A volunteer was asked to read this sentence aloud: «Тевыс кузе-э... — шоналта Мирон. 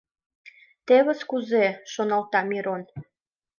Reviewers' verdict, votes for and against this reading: accepted, 2, 0